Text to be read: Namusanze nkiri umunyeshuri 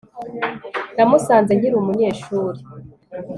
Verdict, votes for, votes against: accepted, 2, 0